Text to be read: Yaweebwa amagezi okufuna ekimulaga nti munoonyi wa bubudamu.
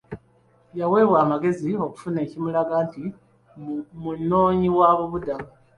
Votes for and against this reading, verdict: 2, 1, accepted